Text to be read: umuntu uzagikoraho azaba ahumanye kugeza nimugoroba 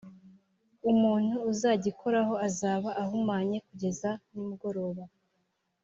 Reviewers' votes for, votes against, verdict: 2, 0, accepted